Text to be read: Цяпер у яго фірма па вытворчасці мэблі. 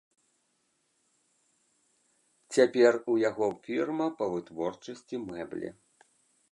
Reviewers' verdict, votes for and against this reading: accepted, 2, 0